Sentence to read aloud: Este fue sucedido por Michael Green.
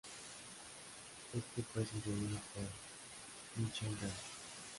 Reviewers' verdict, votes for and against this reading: rejected, 1, 2